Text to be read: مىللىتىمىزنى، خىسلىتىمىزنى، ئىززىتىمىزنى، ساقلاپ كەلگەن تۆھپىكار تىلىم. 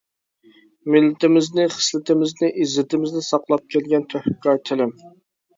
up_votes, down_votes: 2, 0